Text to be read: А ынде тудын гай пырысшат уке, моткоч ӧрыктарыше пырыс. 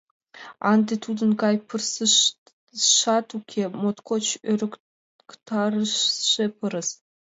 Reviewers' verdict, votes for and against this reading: rejected, 0, 2